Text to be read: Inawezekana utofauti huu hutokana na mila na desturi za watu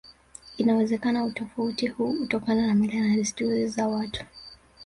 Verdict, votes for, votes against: rejected, 1, 2